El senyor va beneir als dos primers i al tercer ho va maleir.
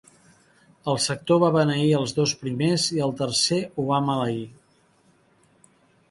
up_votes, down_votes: 1, 6